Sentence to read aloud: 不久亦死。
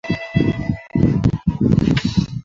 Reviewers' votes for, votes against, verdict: 1, 3, rejected